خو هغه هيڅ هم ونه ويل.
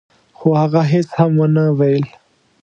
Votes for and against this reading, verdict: 2, 0, accepted